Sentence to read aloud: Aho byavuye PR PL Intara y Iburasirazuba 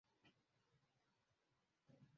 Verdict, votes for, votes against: rejected, 0, 2